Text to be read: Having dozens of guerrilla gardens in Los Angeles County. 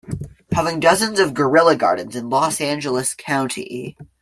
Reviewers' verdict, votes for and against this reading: accepted, 2, 0